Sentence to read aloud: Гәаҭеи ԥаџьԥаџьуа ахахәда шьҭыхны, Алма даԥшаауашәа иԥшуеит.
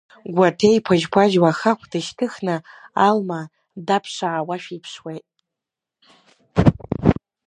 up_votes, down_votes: 1, 2